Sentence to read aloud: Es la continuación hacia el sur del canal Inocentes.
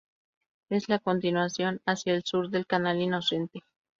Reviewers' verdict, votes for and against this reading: accepted, 2, 0